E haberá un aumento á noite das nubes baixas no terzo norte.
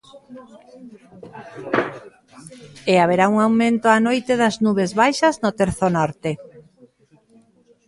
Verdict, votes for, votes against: accepted, 2, 0